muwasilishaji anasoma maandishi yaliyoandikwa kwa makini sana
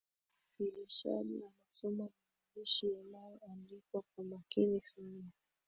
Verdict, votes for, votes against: rejected, 1, 2